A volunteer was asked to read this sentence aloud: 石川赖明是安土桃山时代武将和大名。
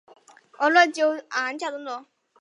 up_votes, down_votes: 1, 2